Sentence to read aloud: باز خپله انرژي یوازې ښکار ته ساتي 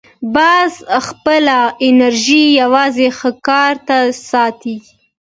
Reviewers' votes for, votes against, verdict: 2, 0, accepted